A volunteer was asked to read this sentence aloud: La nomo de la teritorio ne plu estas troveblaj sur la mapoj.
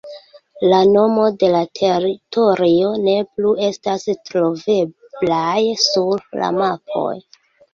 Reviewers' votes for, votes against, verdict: 2, 1, accepted